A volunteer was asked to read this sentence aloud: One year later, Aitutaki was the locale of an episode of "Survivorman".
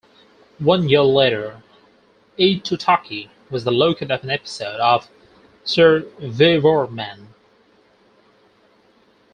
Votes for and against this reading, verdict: 2, 4, rejected